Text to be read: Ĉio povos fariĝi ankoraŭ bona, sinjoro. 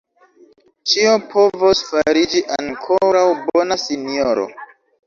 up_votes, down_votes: 1, 2